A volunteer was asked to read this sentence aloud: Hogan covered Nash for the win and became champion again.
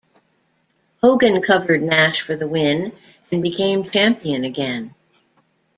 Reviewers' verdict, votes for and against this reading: accepted, 2, 0